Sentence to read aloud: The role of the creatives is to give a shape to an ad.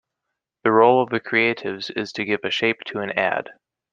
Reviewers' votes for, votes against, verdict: 2, 0, accepted